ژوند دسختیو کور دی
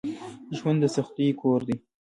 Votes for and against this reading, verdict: 2, 1, accepted